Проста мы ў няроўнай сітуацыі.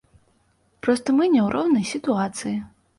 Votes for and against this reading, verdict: 0, 2, rejected